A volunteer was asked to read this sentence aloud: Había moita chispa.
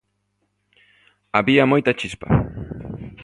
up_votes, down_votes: 2, 0